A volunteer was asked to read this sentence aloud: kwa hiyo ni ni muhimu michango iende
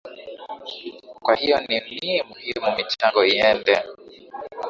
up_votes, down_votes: 7, 1